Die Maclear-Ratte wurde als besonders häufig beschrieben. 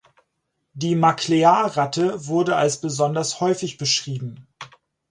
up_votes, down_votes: 2, 4